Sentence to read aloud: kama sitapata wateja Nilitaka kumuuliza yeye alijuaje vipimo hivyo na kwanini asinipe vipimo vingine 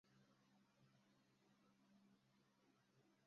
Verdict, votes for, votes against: rejected, 0, 2